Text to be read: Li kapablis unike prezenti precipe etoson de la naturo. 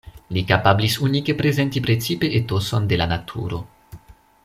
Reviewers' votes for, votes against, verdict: 2, 0, accepted